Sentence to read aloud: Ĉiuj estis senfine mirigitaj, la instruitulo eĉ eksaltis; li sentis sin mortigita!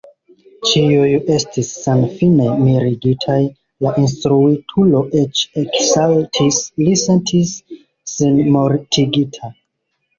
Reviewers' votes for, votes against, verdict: 2, 0, accepted